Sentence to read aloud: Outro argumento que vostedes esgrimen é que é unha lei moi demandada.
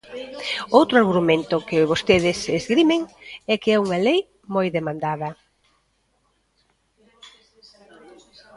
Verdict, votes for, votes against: rejected, 1, 2